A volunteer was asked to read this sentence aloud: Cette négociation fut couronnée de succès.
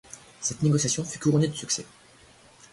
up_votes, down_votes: 1, 2